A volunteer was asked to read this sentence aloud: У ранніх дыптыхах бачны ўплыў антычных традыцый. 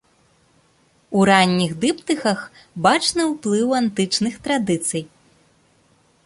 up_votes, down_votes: 2, 0